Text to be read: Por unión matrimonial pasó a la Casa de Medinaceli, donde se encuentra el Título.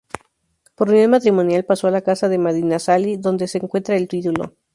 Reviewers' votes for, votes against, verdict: 0, 2, rejected